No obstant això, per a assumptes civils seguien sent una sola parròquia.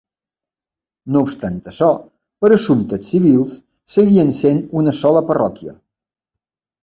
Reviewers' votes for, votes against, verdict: 2, 0, accepted